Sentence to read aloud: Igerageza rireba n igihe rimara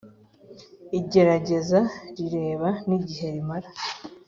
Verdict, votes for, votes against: accepted, 2, 0